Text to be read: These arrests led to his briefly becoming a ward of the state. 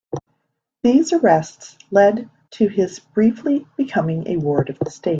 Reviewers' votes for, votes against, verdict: 1, 2, rejected